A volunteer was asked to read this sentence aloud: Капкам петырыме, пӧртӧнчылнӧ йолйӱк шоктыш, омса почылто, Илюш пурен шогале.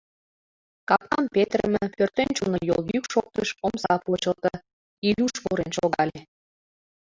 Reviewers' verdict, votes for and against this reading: accepted, 2, 1